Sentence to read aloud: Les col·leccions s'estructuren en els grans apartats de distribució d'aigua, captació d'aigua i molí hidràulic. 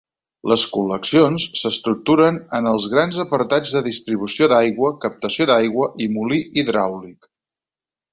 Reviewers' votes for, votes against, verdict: 4, 0, accepted